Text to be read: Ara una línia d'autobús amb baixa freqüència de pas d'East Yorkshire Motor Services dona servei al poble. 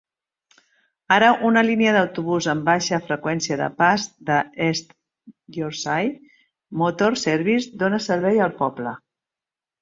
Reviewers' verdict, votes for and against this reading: rejected, 0, 2